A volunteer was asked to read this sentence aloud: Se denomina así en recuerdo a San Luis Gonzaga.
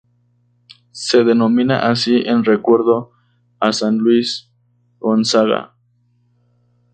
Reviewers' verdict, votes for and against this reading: rejected, 0, 2